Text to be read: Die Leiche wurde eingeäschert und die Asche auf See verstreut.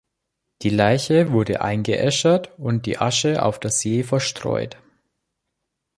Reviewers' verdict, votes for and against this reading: rejected, 1, 4